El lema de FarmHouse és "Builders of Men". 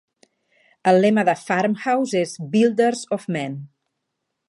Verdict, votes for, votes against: accepted, 2, 0